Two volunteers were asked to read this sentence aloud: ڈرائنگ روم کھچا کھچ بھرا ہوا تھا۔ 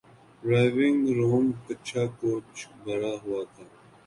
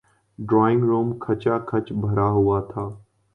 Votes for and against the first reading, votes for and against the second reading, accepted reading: 0, 3, 2, 0, second